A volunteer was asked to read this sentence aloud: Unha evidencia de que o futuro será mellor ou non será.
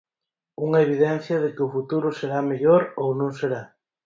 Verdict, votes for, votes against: accepted, 4, 0